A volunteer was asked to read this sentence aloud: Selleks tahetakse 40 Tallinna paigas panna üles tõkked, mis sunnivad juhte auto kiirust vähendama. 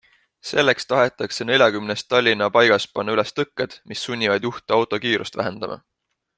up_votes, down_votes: 0, 2